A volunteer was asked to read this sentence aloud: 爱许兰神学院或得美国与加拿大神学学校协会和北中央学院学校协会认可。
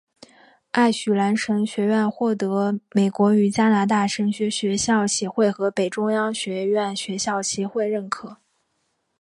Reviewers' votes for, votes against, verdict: 3, 0, accepted